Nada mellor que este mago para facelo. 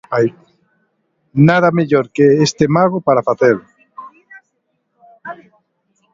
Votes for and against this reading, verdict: 1, 2, rejected